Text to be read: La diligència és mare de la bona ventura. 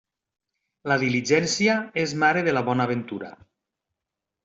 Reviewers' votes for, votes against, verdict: 3, 0, accepted